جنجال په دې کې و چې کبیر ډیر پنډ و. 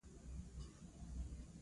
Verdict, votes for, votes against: rejected, 0, 2